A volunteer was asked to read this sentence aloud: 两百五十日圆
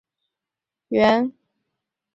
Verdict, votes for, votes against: rejected, 0, 3